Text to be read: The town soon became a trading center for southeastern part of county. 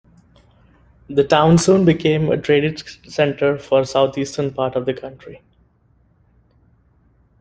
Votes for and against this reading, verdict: 0, 2, rejected